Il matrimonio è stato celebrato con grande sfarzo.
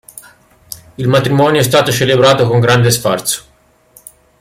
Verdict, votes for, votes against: accepted, 2, 1